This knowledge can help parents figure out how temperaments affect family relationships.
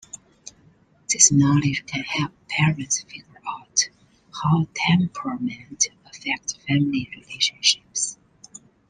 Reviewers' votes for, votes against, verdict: 2, 0, accepted